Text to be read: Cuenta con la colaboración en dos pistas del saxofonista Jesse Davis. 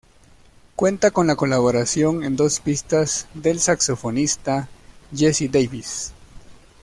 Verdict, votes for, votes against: accepted, 2, 0